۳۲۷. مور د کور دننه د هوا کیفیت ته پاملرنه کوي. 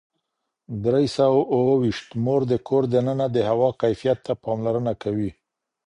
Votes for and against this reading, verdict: 0, 2, rejected